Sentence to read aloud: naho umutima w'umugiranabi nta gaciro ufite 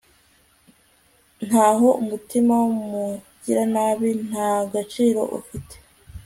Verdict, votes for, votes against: rejected, 1, 2